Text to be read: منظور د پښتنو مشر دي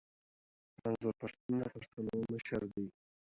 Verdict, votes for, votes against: rejected, 0, 2